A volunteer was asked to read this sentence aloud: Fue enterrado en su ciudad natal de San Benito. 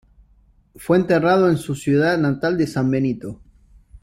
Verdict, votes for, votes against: accepted, 2, 0